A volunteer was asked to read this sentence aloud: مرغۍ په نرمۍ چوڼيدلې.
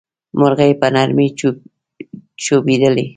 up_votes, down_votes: 1, 2